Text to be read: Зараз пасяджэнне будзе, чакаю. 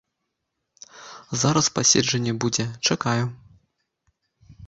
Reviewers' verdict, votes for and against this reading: rejected, 0, 2